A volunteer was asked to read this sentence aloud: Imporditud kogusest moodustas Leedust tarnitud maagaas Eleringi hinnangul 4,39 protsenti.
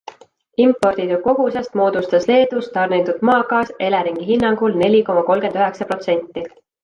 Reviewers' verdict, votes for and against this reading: rejected, 0, 2